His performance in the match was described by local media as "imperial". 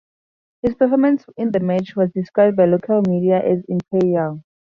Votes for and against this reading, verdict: 2, 2, rejected